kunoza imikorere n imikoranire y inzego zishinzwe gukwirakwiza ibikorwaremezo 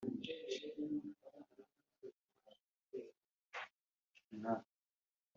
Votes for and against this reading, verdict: 0, 2, rejected